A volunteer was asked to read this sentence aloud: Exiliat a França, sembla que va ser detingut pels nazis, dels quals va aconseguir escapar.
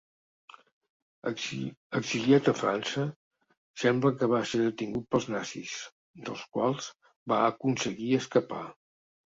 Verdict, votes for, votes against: rejected, 0, 2